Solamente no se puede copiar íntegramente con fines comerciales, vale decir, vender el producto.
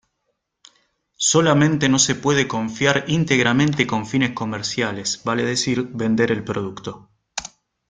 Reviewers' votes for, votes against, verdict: 0, 2, rejected